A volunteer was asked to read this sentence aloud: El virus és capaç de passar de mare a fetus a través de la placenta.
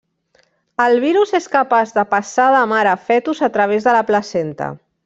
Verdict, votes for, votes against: accepted, 2, 0